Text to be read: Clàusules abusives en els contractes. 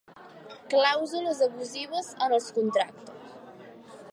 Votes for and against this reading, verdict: 1, 2, rejected